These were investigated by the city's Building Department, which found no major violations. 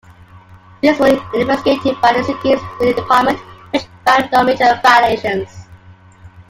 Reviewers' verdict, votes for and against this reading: rejected, 1, 2